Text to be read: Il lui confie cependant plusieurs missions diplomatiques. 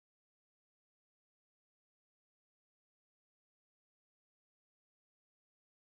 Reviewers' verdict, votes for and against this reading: rejected, 0, 2